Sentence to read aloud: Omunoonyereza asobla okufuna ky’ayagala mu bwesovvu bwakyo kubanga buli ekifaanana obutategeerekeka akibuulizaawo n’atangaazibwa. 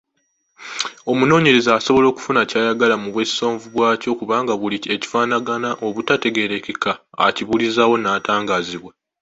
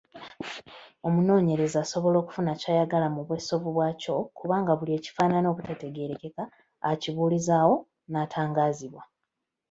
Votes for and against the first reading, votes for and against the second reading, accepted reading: 2, 0, 1, 2, first